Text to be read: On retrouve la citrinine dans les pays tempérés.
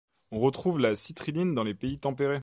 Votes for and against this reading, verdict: 2, 0, accepted